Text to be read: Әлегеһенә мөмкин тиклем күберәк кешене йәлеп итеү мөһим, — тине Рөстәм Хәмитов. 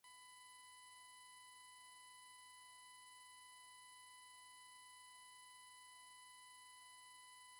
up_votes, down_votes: 1, 3